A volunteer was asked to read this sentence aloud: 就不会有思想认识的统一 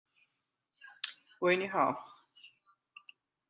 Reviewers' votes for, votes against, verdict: 0, 2, rejected